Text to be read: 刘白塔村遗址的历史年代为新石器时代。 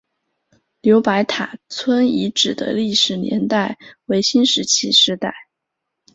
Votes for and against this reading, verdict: 2, 0, accepted